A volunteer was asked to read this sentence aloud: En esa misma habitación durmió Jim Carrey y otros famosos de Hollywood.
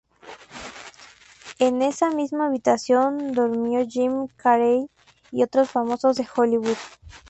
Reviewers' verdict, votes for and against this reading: rejected, 0, 2